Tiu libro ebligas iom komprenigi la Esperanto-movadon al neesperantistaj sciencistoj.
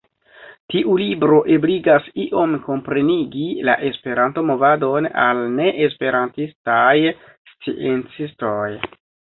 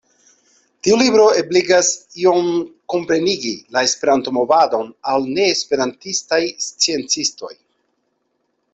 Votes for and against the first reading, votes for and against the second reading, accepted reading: 1, 2, 2, 0, second